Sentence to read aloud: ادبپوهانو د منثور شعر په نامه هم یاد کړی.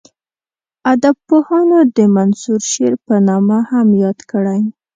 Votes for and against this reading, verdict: 2, 0, accepted